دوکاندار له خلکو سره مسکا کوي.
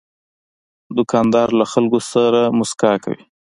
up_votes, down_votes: 2, 0